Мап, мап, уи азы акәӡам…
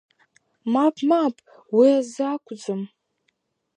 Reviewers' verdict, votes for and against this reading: accepted, 4, 2